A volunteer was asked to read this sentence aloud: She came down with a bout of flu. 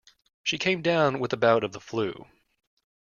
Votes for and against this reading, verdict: 1, 2, rejected